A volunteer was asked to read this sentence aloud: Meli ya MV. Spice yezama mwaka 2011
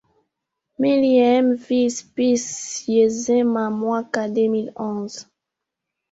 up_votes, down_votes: 0, 2